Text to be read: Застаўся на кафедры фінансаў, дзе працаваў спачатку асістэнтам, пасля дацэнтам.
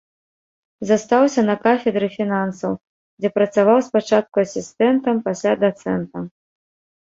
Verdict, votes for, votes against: accepted, 2, 0